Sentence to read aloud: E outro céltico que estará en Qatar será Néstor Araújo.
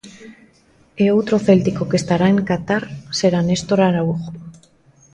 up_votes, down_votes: 2, 0